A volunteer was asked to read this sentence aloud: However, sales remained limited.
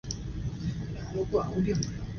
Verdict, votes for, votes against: rejected, 0, 2